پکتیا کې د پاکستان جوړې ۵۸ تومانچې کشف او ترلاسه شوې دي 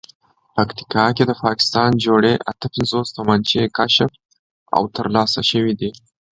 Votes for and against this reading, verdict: 0, 2, rejected